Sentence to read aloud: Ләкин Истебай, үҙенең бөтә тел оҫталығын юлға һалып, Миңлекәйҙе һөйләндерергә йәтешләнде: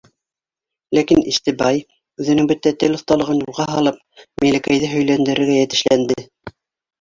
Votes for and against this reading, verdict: 1, 2, rejected